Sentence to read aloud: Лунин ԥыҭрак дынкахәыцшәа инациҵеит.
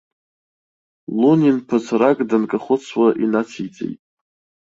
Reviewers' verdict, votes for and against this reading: rejected, 1, 2